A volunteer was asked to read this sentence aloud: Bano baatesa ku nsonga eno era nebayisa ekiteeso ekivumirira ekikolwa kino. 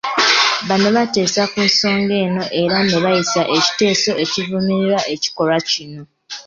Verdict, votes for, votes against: accepted, 2, 0